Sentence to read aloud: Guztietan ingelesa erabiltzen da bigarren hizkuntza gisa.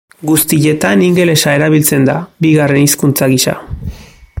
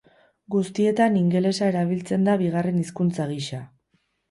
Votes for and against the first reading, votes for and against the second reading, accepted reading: 2, 0, 2, 2, first